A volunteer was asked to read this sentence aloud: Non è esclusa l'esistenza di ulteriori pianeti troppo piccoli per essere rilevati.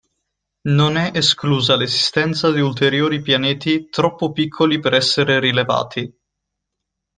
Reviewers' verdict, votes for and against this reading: rejected, 1, 2